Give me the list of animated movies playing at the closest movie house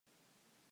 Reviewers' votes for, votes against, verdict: 0, 2, rejected